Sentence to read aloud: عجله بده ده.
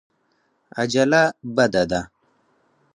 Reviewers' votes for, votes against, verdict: 4, 0, accepted